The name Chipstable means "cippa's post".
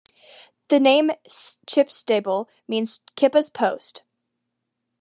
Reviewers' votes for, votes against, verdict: 1, 2, rejected